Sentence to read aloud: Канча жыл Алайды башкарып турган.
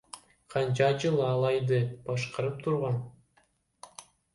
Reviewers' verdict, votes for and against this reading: rejected, 1, 2